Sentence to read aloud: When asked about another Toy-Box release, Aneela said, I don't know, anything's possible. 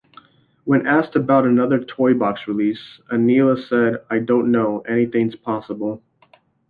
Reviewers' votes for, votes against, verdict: 2, 0, accepted